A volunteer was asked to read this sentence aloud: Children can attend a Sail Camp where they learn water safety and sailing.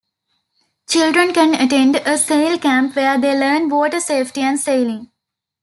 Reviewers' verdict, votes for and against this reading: accepted, 2, 0